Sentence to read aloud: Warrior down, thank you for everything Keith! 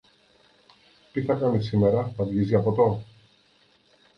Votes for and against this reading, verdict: 0, 2, rejected